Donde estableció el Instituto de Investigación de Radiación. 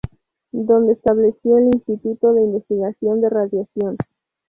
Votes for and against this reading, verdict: 0, 2, rejected